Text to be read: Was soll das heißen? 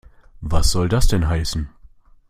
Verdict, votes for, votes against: rejected, 0, 2